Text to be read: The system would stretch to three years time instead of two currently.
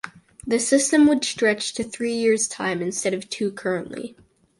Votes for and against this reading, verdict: 4, 0, accepted